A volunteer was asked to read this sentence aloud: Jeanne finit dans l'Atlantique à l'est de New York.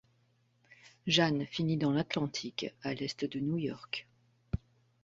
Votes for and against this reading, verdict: 2, 0, accepted